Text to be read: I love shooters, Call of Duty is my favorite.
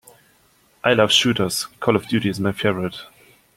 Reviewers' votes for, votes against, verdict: 2, 0, accepted